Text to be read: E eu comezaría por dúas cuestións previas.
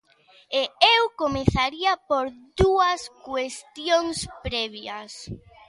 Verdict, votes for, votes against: accepted, 2, 0